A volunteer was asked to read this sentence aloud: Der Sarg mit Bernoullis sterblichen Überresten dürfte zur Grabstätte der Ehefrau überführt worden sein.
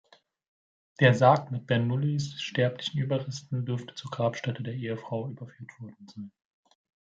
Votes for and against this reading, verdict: 2, 0, accepted